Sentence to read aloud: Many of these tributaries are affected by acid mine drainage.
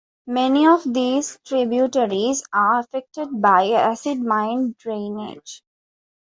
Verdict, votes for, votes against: accepted, 2, 0